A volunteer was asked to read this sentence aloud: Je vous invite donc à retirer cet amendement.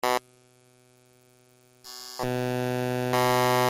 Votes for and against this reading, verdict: 0, 2, rejected